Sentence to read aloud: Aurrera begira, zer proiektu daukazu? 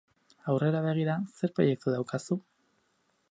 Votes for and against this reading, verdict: 2, 2, rejected